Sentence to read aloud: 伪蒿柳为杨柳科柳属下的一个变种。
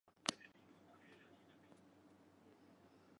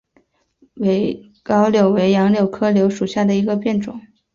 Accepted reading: second